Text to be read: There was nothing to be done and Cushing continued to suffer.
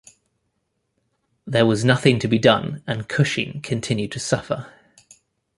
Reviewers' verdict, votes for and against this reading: accepted, 2, 0